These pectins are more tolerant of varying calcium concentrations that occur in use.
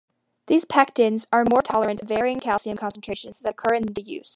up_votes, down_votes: 2, 1